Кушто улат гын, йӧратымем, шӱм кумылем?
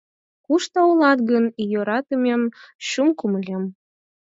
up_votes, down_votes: 0, 4